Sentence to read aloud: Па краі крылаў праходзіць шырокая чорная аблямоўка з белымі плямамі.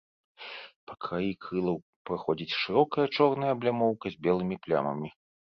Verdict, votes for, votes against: accepted, 4, 1